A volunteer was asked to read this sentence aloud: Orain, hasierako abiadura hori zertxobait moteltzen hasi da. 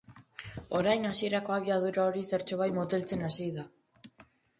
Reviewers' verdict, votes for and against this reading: accepted, 2, 0